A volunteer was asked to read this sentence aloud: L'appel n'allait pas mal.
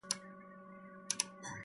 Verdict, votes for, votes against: rejected, 0, 2